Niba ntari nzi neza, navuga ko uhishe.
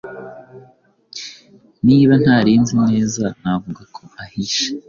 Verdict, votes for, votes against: rejected, 0, 2